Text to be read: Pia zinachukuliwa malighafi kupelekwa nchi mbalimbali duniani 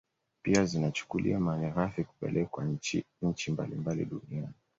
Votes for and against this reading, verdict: 2, 1, accepted